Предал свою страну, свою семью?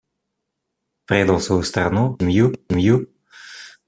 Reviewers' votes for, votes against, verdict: 0, 3, rejected